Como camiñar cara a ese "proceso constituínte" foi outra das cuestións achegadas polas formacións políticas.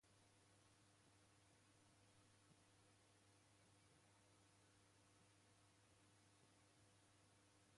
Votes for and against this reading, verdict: 0, 2, rejected